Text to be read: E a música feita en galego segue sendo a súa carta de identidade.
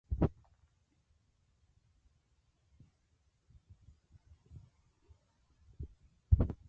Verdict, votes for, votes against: rejected, 0, 2